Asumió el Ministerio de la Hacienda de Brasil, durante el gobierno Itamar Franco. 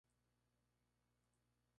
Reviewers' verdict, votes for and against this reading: rejected, 0, 2